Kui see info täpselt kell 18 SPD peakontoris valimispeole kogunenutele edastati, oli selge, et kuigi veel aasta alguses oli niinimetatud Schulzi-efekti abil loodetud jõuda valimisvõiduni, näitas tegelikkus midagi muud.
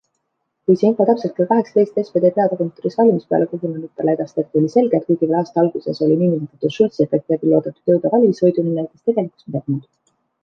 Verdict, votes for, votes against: rejected, 0, 2